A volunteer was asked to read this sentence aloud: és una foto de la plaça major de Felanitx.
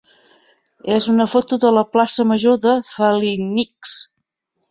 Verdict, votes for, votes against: rejected, 1, 4